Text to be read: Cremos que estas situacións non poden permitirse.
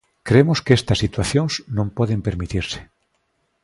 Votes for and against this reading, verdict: 2, 0, accepted